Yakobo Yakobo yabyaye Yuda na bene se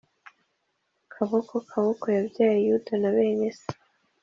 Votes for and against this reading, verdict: 1, 2, rejected